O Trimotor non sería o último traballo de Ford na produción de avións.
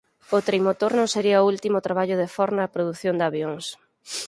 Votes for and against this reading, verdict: 4, 0, accepted